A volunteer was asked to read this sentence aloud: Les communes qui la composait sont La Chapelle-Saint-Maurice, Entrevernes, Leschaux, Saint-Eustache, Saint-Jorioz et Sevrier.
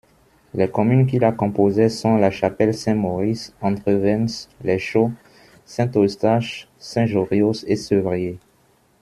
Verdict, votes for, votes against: rejected, 1, 2